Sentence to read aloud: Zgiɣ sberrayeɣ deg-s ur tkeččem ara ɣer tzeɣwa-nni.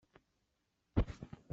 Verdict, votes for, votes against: rejected, 1, 2